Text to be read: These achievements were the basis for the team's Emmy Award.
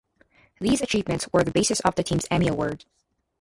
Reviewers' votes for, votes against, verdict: 0, 2, rejected